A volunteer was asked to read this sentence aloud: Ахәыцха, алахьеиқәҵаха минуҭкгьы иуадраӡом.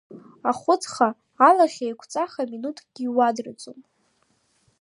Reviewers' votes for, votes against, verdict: 3, 0, accepted